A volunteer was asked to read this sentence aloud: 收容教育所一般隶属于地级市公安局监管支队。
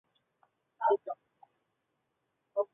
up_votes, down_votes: 0, 2